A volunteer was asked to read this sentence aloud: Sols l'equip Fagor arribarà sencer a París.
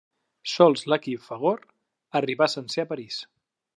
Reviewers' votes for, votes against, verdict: 0, 2, rejected